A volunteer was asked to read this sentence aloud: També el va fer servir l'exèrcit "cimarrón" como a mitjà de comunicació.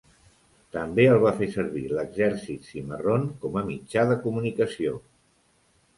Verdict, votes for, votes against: accepted, 2, 0